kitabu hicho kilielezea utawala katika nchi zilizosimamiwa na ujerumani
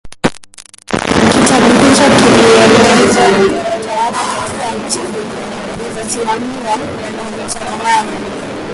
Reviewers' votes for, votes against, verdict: 0, 3, rejected